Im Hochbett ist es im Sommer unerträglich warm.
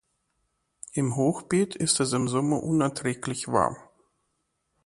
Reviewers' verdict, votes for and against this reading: rejected, 0, 2